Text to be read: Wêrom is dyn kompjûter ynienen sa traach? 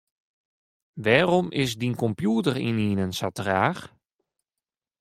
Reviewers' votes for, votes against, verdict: 1, 2, rejected